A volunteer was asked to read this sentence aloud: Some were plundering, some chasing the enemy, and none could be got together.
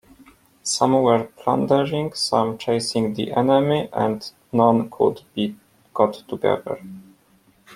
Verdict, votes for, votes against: accepted, 2, 0